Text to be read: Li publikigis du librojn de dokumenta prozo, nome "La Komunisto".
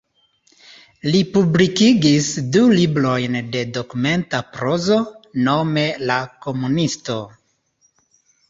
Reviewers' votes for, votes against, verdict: 2, 1, accepted